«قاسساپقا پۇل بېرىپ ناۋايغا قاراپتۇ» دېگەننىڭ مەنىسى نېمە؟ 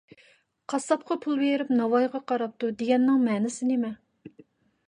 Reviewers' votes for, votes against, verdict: 2, 0, accepted